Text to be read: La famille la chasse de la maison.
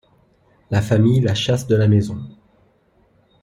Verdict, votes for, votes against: accepted, 2, 0